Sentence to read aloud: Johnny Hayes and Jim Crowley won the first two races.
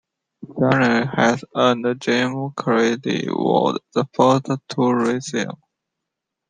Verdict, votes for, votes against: rejected, 0, 2